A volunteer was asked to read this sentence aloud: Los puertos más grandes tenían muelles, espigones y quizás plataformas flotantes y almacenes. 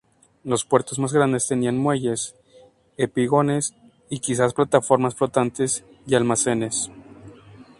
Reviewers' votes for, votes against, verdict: 0, 2, rejected